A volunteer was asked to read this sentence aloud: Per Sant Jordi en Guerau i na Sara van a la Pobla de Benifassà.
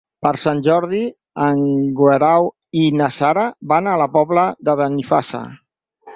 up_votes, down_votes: 0, 4